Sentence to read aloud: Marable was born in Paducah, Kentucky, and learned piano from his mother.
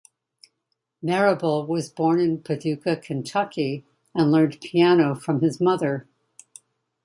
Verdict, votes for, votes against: accepted, 2, 0